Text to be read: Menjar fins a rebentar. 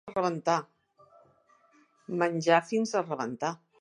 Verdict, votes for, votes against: rejected, 1, 2